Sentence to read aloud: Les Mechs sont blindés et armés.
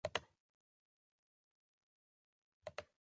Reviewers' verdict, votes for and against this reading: rejected, 0, 3